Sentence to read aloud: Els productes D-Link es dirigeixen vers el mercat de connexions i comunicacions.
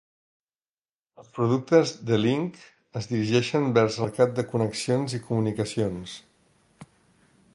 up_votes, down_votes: 0, 4